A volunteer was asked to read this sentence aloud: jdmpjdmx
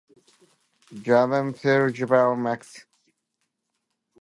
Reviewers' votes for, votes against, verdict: 0, 3, rejected